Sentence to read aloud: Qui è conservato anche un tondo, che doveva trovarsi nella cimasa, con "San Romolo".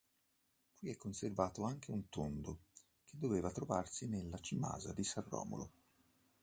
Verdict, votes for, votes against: rejected, 1, 3